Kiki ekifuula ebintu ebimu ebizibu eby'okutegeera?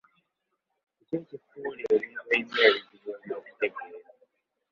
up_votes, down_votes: 0, 2